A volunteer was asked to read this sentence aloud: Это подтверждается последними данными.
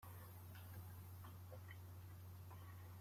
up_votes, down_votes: 0, 2